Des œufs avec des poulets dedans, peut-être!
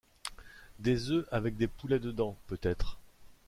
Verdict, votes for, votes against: accepted, 2, 0